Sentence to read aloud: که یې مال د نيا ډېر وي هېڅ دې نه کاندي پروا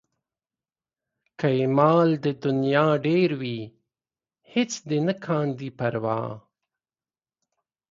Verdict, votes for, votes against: accepted, 2, 0